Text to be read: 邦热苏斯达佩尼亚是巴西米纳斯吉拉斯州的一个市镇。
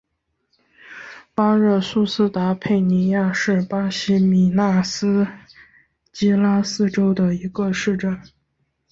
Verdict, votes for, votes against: accepted, 4, 0